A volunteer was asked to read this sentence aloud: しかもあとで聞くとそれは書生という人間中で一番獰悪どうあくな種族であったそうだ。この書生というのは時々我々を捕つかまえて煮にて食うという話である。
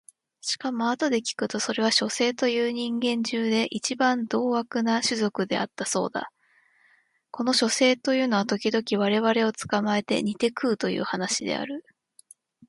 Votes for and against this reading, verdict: 2, 0, accepted